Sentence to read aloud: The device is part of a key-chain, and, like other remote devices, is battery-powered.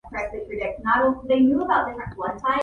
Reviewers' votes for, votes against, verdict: 0, 2, rejected